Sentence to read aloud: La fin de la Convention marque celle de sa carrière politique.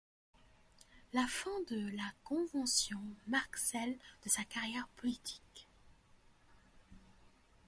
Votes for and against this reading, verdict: 1, 2, rejected